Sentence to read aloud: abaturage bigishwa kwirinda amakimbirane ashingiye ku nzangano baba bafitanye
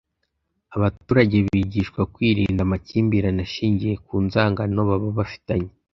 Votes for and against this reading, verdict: 2, 0, accepted